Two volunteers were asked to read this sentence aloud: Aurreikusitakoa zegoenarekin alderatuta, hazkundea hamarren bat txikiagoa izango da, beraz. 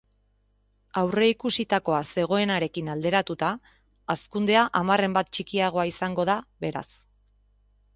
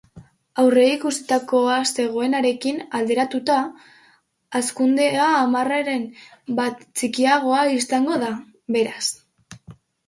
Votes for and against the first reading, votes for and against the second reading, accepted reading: 2, 0, 0, 2, first